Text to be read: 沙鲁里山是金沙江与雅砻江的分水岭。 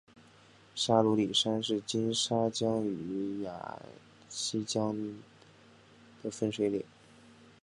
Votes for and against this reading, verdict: 0, 2, rejected